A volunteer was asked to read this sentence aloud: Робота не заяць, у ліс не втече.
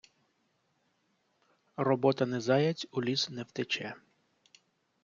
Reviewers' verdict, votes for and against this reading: rejected, 1, 2